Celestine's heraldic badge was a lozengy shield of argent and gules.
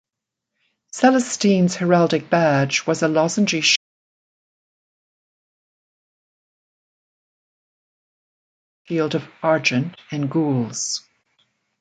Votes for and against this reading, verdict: 0, 2, rejected